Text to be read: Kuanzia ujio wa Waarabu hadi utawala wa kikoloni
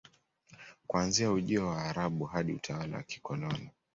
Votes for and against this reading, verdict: 2, 0, accepted